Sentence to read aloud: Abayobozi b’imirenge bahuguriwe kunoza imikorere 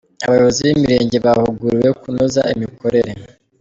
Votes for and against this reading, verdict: 2, 0, accepted